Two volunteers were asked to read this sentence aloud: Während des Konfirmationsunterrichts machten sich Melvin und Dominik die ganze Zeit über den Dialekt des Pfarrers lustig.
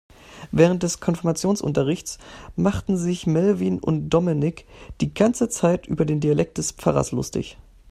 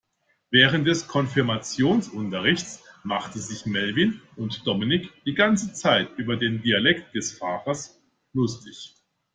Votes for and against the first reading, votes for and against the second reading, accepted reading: 2, 0, 1, 2, first